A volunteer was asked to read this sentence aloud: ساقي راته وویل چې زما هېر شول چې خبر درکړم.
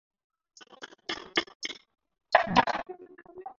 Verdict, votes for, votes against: accepted, 4, 2